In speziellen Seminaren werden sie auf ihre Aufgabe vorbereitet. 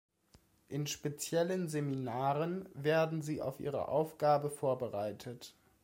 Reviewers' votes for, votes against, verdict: 2, 0, accepted